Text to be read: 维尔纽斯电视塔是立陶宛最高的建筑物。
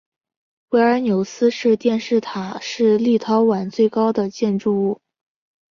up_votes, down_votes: 5, 0